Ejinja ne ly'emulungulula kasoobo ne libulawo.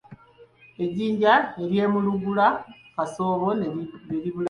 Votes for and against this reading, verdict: 0, 3, rejected